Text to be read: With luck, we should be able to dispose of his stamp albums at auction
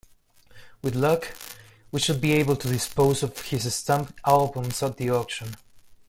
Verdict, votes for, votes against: rejected, 0, 2